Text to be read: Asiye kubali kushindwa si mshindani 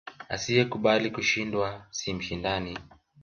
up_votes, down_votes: 1, 2